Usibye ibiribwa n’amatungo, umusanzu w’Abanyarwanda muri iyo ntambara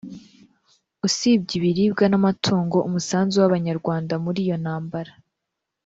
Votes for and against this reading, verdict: 2, 0, accepted